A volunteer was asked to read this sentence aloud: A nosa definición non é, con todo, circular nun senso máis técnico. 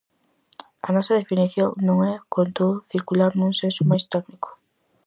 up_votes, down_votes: 4, 0